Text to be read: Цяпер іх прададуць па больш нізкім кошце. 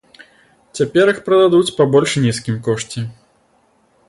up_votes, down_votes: 2, 0